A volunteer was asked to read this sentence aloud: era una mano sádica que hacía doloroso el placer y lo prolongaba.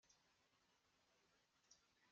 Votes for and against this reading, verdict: 0, 2, rejected